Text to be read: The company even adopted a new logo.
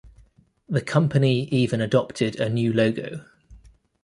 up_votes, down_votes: 2, 0